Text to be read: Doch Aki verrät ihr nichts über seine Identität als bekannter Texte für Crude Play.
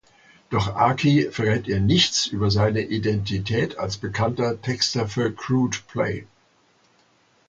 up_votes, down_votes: 0, 2